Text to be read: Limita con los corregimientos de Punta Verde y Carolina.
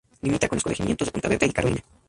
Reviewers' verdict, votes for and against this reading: accepted, 2, 0